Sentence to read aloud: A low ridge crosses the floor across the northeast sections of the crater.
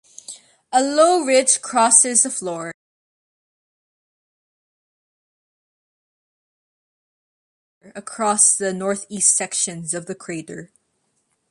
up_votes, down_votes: 1, 2